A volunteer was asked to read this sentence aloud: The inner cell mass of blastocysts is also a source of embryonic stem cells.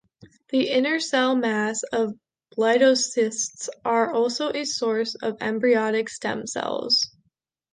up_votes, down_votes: 0, 2